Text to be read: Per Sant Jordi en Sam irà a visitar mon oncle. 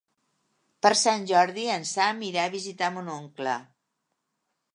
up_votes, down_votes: 2, 0